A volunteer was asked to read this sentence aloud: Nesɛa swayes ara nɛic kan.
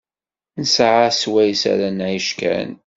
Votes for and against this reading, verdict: 2, 1, accepted